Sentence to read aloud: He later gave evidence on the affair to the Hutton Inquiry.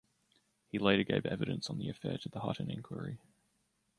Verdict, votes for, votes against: rejected, 0, 2